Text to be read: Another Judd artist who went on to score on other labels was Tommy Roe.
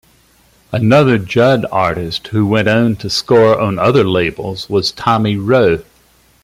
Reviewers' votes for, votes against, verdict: 0, 2, rejected